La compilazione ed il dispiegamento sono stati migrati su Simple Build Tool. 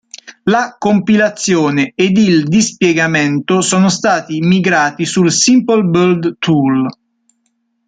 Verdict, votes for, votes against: accepted, 2, 1